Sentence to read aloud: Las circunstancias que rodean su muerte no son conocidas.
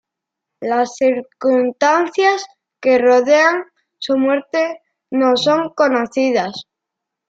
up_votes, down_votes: 1, 2